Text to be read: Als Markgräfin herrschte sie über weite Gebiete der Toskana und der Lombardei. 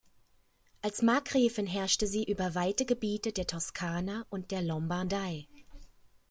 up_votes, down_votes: 2, 0